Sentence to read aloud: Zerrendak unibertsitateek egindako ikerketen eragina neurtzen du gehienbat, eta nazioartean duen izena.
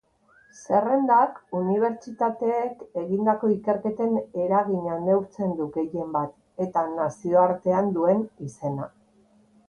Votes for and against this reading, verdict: 2, 0, accepted